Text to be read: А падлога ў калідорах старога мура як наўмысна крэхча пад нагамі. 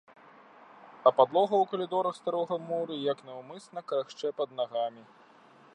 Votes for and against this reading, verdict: 0, 2, rejected